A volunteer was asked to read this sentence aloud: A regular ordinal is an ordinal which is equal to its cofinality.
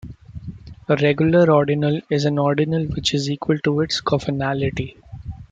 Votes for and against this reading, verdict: 1, 2, rejected